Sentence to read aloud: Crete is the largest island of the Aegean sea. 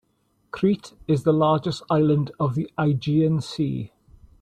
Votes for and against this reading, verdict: 2, 0, accepted